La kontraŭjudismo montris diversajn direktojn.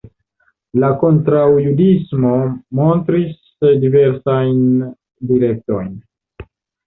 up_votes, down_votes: 2, 1